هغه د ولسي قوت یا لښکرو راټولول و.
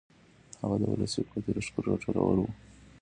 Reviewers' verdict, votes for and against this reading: accepted, 2, 1